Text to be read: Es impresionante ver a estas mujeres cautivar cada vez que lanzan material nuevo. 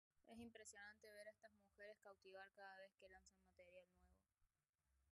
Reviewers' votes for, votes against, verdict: 0, 2, rejected